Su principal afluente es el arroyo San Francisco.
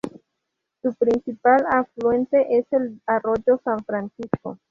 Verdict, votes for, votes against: rejected, 0, 2